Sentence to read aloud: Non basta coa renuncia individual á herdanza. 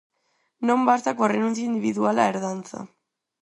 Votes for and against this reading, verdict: 4, 0, accepted